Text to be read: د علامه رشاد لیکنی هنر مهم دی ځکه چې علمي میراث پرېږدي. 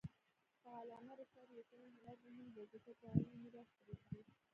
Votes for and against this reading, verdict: 2, 0, accepted